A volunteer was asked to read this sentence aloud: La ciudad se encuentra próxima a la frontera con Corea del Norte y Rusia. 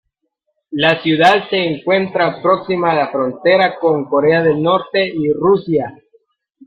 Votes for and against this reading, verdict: 1, 2, rejected